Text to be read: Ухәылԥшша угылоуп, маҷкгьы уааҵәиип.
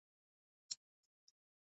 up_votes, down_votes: 0, 2